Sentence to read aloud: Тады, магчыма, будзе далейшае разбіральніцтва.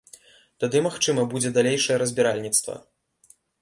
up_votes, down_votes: 2, 0